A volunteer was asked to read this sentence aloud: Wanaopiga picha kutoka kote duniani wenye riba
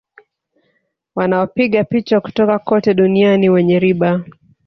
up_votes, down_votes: 0, 2